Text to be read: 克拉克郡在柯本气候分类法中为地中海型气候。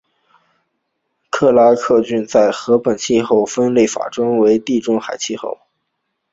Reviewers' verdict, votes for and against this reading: rejected, 2, 3